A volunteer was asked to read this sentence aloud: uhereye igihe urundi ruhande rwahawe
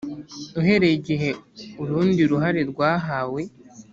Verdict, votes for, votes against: rejected, 1, 2